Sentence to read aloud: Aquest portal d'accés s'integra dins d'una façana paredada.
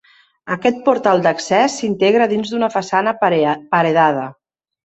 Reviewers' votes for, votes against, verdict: 1, 2, rejected